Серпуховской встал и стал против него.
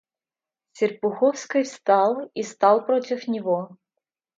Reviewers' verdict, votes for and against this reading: rejected, 1, 2